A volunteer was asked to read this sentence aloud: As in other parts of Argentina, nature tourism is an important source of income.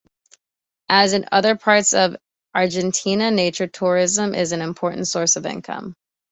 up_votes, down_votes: 2, 0